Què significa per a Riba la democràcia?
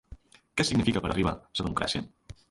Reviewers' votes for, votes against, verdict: 0, 3, rejected